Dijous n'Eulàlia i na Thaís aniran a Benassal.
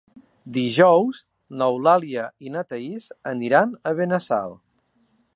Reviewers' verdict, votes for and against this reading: accepted, 3, 0